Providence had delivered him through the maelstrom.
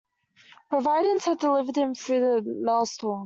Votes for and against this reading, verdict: 0, 2, rejected